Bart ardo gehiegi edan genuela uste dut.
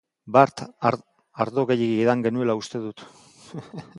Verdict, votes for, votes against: rejected, 1, 2